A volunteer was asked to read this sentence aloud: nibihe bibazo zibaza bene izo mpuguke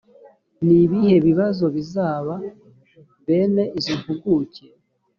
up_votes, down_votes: 1, 2